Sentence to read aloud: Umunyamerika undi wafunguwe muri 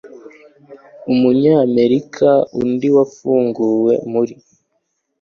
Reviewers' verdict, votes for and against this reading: accepted, 2, 0